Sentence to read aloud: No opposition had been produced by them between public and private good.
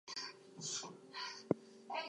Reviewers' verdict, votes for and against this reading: rejected, 0, 4